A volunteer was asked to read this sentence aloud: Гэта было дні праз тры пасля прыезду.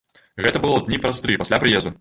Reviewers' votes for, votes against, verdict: 1, 2, rejected